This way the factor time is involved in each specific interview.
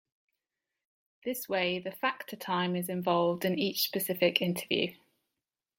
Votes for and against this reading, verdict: 2, 0, accepted